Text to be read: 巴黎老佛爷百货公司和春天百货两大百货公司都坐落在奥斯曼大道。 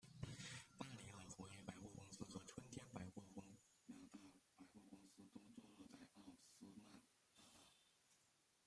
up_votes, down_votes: 1, 2